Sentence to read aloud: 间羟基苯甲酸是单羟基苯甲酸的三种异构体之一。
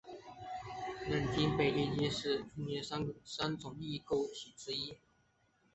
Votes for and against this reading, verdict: 1, 3, rejected